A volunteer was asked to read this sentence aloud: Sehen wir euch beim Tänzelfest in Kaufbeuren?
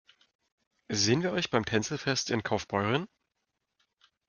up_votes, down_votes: 2, 0